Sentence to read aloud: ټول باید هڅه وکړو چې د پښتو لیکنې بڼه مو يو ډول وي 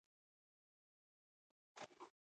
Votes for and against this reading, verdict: 0, 2, rejected